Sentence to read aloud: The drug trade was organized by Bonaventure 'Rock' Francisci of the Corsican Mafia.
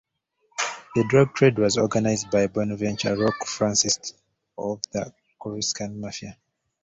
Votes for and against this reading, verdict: 0, 2, rejected